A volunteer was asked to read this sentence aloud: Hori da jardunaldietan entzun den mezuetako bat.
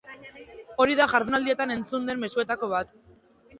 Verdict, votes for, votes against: accepted, 2, 0